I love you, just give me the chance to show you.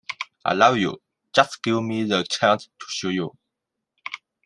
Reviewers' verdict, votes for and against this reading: accepted, 2, 0